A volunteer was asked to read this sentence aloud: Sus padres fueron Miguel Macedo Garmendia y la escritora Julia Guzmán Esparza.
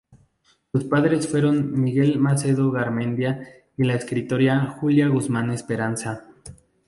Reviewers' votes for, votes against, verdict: 2, 2, rejected